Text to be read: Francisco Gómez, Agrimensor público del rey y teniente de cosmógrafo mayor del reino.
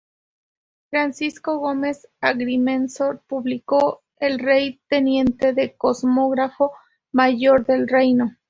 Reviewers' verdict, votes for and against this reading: rejected, 0, 2